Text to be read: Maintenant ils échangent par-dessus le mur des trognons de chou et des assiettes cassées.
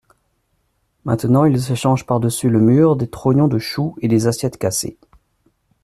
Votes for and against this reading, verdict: 3, 0, accepted